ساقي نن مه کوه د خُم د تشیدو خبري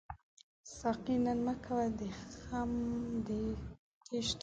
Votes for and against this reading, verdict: 1, 2, rejected